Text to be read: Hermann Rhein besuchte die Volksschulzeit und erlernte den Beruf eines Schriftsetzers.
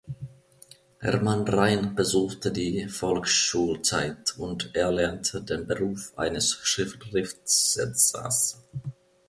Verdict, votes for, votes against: rejected, 0, 2